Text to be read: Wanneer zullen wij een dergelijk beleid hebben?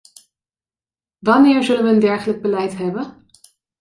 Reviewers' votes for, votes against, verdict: 2, 0, accepted